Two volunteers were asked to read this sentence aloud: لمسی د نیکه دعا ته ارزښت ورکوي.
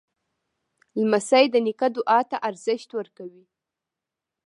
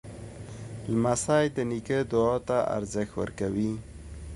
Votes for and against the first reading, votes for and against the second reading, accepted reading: 1, 2, 2, 0, second